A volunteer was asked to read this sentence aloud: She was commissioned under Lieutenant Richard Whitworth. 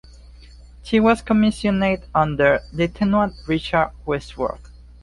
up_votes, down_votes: 2, 1